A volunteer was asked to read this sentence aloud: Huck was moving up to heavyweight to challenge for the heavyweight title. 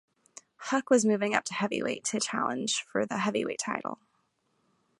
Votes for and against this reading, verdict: 2, 0, accepted